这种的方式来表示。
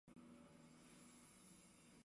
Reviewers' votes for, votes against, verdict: 0, 3, rejected